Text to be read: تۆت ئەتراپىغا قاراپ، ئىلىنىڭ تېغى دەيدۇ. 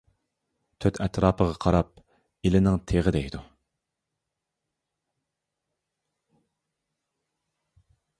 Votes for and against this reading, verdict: 2, 0, accepted